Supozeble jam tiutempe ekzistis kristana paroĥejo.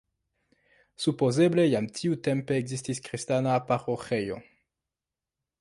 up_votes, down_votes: 3, 2